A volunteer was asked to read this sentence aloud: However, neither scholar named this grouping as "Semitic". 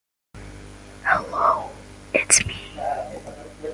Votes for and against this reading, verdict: 0, 2, rejected